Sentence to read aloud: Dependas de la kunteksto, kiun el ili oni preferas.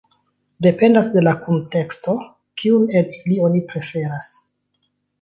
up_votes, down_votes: 2, 0